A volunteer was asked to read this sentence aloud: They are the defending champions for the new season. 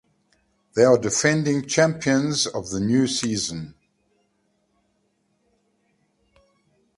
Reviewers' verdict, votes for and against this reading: rejected, 0, 2